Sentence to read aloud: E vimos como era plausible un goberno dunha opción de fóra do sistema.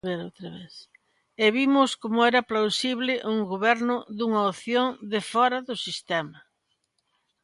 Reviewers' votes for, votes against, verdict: 0, 2, rejected